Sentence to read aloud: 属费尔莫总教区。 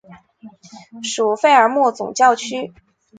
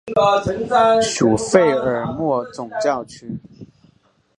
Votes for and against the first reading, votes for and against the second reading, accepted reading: 2, 0, 0, 2, first